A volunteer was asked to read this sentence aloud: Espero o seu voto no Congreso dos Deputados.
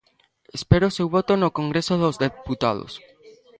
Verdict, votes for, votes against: rejected, 1, 2